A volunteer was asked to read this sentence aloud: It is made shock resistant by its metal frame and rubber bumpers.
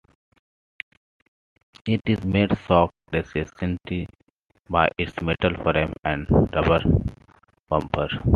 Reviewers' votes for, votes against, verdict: 0, 2, rejected